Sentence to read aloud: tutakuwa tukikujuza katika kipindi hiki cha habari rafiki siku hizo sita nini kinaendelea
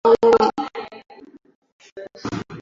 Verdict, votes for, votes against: rejected, 0, 2